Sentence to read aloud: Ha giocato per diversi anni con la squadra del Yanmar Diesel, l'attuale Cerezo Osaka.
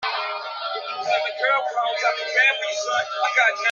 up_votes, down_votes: 0, 2